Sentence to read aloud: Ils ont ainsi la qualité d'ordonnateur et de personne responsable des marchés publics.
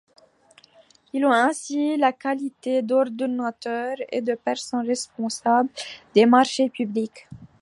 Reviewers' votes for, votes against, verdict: 1, 2, rejected